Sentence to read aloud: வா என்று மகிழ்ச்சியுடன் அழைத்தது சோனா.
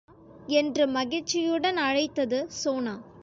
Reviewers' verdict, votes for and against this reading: rejected, 0, 2